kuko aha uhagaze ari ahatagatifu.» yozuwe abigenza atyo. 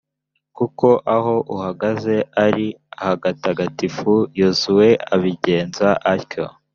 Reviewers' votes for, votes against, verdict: 2, 3, rejected